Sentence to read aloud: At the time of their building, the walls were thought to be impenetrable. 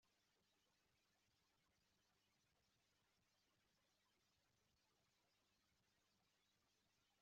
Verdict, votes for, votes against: rejected, 0, 2